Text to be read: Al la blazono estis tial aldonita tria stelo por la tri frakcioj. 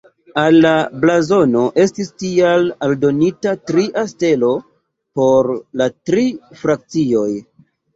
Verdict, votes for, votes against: accepted, 2, 0